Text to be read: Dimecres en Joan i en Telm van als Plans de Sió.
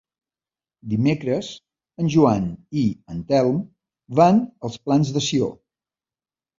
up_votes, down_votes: 2, 0